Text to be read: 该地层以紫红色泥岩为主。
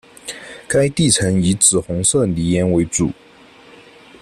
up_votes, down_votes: 1, 2